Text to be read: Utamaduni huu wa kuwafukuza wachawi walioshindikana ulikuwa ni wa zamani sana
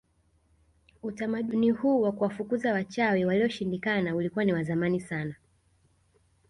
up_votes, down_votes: 1, 2